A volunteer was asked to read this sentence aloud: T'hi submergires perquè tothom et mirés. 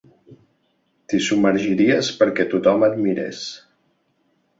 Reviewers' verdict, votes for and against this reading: rejected, 1, 2